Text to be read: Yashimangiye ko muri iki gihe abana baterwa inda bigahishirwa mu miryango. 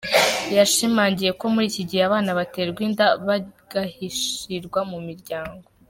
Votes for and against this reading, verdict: 2, 3, rejected